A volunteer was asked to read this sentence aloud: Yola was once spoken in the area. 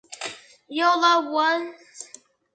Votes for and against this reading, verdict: 0, 2, rejected